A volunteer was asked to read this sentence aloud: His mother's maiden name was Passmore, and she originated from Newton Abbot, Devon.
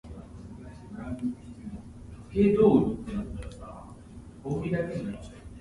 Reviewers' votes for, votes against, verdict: 0, 6, rejected